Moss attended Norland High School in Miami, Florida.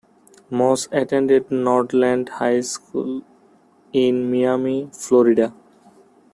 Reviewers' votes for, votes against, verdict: 1, 2, rejected